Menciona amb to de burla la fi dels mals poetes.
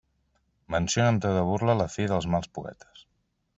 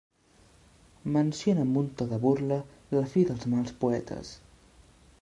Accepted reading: first